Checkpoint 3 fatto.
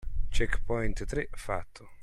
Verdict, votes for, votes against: rejected, 0, 2